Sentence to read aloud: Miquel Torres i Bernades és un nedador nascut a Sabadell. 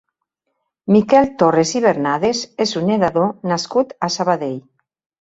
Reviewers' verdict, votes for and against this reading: accepted, 3, 1